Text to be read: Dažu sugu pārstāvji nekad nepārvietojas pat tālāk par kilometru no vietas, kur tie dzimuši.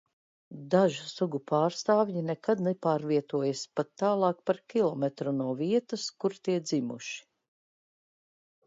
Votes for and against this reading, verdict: 2, 0, accepted